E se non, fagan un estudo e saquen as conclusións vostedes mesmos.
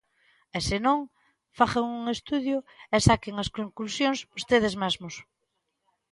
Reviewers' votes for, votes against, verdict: 1, 2, rejected